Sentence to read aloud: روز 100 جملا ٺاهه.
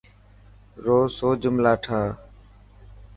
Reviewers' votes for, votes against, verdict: 0, 2, rejected